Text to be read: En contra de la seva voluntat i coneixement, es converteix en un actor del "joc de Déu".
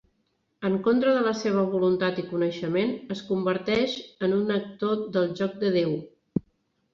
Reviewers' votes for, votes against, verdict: 3, 0, accepted